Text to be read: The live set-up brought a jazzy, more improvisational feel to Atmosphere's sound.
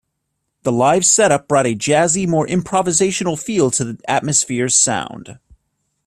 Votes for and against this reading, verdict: 1, 2, rejected